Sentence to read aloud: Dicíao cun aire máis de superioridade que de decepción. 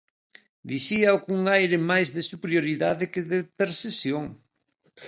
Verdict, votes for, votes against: rejected, 1, 2